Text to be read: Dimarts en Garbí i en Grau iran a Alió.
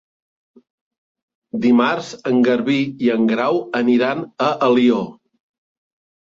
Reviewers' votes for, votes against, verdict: 1, 2, rejected